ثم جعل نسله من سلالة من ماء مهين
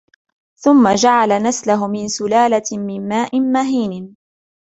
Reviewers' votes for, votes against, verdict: 2, 1, accepted